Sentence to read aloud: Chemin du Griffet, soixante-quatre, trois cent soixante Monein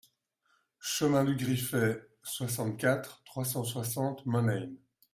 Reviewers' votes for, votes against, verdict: 2, 0, accepted